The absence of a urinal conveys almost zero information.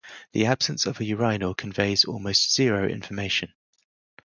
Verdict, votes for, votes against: rejected, 0, 2